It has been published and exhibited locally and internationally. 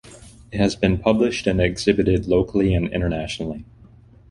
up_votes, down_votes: 2, 1